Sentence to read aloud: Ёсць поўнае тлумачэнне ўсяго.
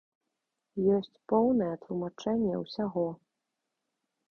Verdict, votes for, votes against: accepted, 2, 0